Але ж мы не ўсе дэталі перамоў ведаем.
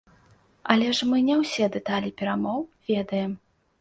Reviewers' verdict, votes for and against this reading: accepted, 2, 0